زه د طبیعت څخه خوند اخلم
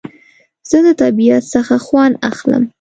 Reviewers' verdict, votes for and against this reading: accepted, 2, 0